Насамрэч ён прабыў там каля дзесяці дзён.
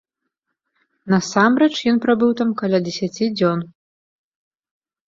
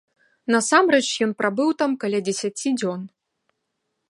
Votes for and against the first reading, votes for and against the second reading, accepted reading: 0, 2, 2, 0, second